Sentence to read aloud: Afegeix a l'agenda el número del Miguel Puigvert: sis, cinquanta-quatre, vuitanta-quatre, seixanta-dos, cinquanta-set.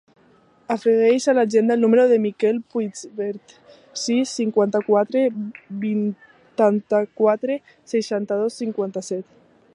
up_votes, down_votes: 1, 2